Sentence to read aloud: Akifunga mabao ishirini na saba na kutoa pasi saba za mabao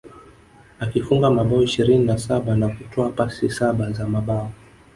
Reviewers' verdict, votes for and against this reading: accepted, 2, 0